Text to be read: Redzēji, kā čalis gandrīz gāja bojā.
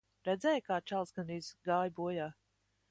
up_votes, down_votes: 2, 0